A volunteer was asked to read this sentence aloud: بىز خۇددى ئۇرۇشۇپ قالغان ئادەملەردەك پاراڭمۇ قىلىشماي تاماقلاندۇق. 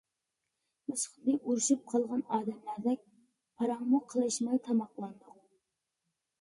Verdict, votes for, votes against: rejected, 0, 2